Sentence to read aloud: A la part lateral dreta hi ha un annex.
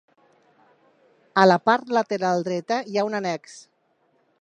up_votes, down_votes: 4, 0